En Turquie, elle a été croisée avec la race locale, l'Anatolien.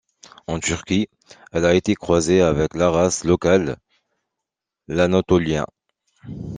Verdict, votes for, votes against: accepted, 2, 0